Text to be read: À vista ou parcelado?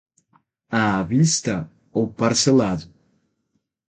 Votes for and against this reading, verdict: 6, 0, accepted